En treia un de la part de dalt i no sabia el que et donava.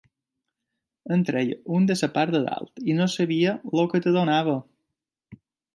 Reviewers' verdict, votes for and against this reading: rejected, 1, 2